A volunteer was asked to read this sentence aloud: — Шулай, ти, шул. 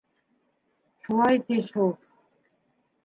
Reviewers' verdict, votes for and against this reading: accepted, 2, 1